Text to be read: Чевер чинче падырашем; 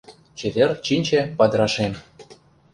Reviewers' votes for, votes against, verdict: 2, 0, accepted